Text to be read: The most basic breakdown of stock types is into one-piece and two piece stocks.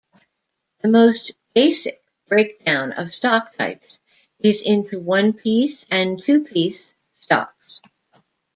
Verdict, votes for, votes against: rejected, 1, 2